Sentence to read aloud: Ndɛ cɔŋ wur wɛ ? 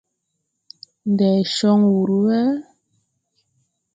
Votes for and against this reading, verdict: 2, 0, accepted